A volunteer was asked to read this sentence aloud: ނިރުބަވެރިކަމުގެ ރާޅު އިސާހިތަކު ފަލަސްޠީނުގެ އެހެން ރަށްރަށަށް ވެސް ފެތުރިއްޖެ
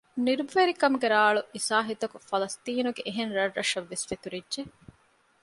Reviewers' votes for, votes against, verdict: 2, 0, accepted